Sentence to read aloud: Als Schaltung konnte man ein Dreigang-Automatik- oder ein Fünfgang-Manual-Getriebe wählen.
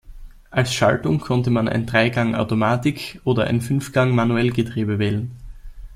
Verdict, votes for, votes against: rejected, 0, 2